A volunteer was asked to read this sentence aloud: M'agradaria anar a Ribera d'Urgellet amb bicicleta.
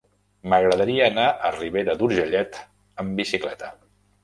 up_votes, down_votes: 3, 1